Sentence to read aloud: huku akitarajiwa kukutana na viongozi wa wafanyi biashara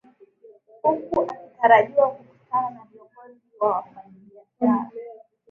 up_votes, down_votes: 1, 2